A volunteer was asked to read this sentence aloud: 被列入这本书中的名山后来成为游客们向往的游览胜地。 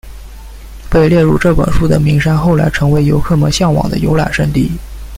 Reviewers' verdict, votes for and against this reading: rejected, 0, 2